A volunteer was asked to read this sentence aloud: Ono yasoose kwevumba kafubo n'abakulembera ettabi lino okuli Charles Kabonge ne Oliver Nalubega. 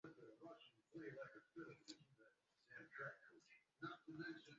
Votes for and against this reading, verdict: 1, 2, rejected